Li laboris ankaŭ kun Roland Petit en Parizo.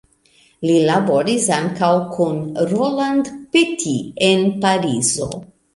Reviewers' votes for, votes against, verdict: 2, 0, accepted